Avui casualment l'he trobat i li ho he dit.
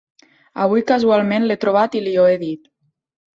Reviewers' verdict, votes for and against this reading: accepted, 3, 0